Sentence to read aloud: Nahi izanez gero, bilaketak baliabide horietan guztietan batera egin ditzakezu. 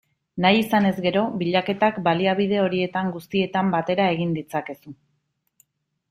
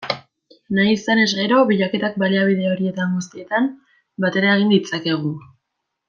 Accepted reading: first